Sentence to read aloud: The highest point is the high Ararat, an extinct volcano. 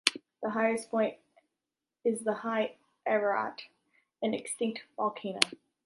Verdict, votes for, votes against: accepted, 2, 1